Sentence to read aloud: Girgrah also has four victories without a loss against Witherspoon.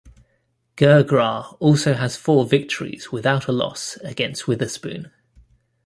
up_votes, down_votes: 2, 0